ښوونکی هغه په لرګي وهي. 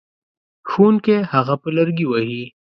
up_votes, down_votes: 2, 0